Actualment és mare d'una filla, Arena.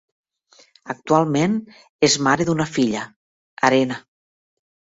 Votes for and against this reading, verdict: 2, 0, accepted